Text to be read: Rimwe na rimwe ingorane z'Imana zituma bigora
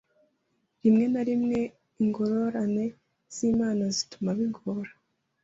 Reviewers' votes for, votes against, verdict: 2, 0, accepted